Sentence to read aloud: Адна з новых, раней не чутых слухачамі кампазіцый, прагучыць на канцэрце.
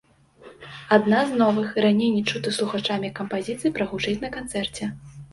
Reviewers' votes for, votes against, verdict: 2, 0, accepted